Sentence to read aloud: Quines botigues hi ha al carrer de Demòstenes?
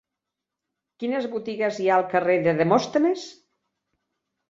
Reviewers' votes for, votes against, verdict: 3, 1, accepted